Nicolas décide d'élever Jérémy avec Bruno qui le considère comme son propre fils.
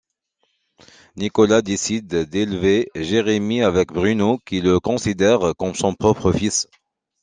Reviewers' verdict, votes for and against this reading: accepted, 2, 0